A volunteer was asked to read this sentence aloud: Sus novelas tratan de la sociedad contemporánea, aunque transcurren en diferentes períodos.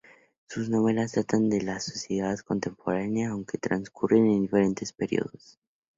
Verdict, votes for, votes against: accepted, 2, 0